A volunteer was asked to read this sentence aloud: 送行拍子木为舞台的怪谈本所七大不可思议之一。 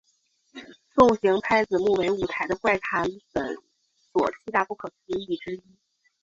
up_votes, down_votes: 2, 0